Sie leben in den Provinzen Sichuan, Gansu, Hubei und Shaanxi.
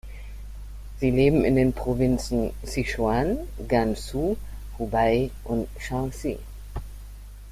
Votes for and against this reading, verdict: 1, 2, rejected